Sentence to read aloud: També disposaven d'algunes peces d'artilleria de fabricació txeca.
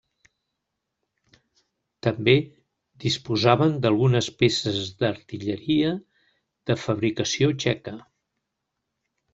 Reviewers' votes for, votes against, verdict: 3, 0, accepted